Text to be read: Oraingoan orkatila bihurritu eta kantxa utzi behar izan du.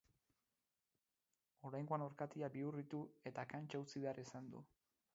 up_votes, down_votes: 2, 4